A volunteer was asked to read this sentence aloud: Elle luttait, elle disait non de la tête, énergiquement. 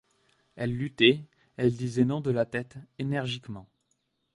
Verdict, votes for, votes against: accepted, 2, 0